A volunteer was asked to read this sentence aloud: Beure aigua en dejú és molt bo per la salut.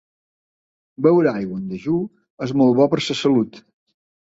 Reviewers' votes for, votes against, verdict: 0, 2, rejected